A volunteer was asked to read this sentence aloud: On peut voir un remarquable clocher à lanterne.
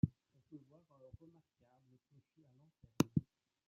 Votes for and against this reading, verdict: 1, 2, rejected